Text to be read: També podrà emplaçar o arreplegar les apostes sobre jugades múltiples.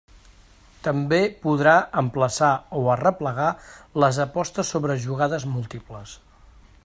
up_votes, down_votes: 3, 0